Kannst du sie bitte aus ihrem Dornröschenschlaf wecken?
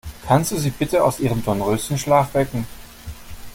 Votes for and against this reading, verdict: 2, 0, accepted